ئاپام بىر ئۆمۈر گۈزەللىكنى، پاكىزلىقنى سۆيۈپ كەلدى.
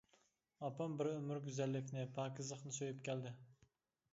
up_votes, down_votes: 2, 0